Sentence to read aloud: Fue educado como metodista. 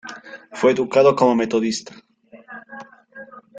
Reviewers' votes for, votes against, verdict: 2, 0, accepted